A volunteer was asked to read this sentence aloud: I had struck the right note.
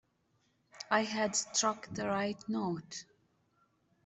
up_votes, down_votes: 2, 0